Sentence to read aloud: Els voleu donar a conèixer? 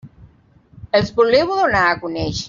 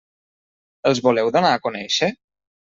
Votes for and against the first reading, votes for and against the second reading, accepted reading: 1, 2, 3, 0, second